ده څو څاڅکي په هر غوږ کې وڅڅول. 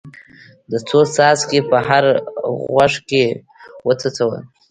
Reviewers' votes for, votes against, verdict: 2, 1, accepted